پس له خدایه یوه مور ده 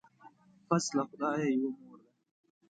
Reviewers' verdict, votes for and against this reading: rejected, 1, 2